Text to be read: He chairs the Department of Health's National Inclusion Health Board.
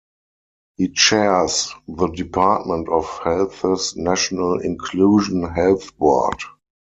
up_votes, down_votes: 2, 4